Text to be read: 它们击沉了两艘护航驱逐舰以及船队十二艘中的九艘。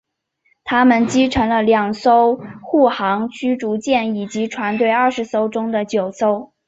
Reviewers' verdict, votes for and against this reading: accepted, 2, 0